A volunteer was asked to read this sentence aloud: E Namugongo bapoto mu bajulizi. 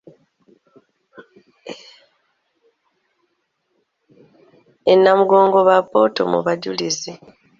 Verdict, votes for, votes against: rejected, 1, 2